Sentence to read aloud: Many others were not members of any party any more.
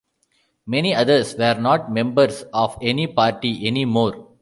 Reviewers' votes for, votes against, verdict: 2, 0, accepted